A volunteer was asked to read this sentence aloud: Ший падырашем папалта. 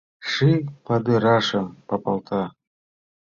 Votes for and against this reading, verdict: 1, 2, rejected